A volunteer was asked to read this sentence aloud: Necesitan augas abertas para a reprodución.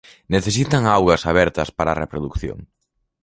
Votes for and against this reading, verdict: 2, 0, accepted